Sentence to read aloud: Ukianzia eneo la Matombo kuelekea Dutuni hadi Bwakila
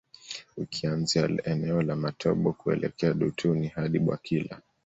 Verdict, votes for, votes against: accepted, 2, 1